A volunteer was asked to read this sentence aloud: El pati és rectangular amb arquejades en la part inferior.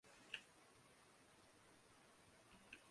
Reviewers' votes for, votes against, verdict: 0, 2, rejected